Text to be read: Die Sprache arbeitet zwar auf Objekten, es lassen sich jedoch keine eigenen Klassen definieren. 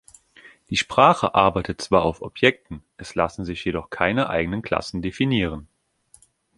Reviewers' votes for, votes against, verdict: 3, 0, accepted